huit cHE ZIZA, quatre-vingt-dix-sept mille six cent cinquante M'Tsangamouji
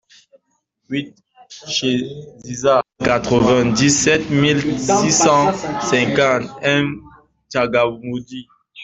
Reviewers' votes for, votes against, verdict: 1, 2, rejected